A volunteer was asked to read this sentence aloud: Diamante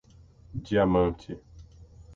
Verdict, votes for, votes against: accepted, 6, 0